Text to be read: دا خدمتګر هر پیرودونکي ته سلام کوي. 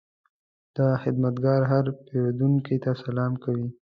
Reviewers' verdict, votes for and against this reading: accepted, 2, 0